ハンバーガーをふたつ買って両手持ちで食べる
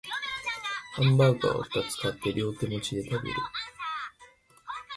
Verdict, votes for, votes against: rejected, 1, 2